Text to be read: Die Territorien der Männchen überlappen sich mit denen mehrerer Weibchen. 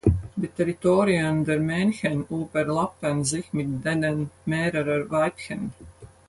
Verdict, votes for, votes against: rejected, 0, 4